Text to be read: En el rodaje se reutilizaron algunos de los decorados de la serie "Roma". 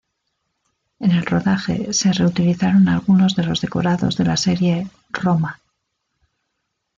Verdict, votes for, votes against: accepted, 2, 0